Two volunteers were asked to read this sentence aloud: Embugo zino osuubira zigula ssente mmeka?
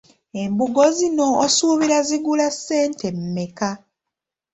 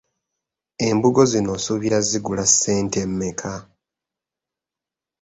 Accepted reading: first